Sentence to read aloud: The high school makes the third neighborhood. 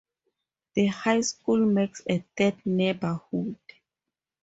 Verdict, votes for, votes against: rejected, 0, 2